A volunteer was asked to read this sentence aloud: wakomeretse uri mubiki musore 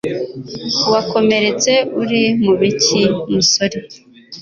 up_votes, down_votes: 2, 0